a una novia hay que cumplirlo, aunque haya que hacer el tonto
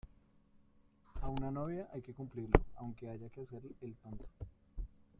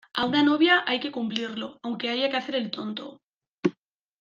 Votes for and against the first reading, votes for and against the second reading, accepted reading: 0, 2, 3, 0, second